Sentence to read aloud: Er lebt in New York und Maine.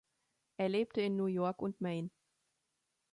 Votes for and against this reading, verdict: 0, 2, rejected